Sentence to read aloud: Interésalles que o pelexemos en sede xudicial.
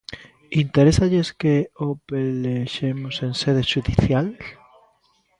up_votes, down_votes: 0, 2